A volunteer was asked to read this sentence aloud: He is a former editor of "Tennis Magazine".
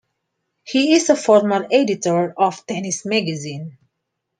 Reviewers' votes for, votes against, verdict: 2, 0, accepted